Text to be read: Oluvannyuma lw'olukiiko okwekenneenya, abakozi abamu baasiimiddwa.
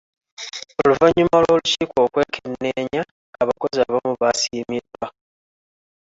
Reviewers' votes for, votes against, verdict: 2, 1, accepted